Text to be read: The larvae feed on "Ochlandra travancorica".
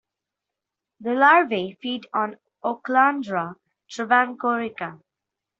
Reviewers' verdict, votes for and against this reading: accepted, 2, 0